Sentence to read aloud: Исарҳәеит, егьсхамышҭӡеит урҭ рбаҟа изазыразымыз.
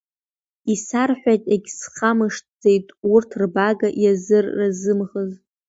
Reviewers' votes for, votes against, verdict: 1, 2, rejected